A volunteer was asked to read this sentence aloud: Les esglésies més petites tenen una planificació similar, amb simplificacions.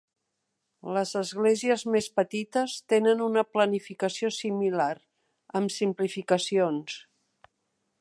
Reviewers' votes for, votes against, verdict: 3, 0, accepted